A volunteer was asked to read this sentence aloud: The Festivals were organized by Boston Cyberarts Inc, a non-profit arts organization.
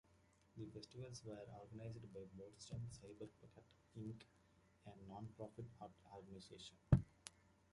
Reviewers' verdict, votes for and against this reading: accepted, 2, 1